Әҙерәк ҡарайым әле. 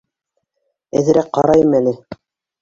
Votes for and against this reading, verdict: 2, 1, accepted